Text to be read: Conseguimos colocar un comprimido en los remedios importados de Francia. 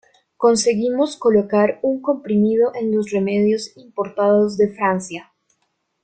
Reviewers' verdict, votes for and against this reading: accepted, 2, 0